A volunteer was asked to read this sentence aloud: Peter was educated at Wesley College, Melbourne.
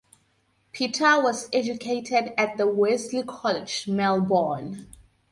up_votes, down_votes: 2, 2